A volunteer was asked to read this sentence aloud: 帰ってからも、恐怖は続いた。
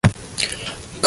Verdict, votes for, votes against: rejected, 0, 2